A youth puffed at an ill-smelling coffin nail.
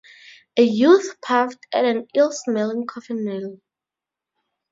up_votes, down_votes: 4, 0